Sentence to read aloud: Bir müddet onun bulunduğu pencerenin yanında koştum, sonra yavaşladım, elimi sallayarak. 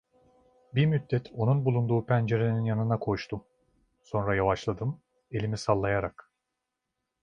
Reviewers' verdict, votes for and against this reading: rejected, 1, 2